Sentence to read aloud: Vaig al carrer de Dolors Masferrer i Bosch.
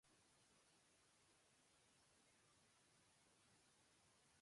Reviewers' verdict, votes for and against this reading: rejected, 0, 2